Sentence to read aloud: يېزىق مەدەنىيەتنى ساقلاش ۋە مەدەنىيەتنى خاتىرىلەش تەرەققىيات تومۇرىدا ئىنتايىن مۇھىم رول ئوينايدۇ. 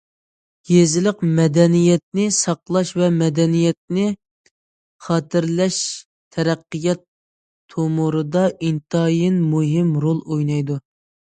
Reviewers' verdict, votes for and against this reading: rejected, 0, 2